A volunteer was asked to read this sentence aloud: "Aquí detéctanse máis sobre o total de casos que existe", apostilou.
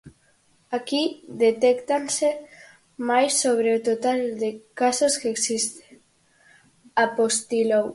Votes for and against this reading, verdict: 4, 0, accepted